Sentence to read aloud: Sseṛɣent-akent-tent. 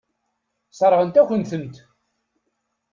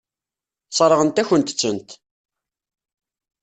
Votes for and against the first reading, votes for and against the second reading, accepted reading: 2, 0, 1, 2, first